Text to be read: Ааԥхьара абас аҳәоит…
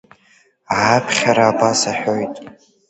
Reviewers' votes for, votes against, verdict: 2, 0, accepted